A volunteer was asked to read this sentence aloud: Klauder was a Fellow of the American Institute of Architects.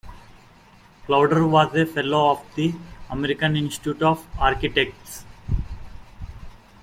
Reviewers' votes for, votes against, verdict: 2, 0, accepted